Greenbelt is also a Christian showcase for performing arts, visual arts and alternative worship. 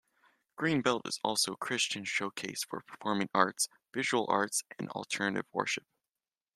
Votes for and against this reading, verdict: 2, 0, accepted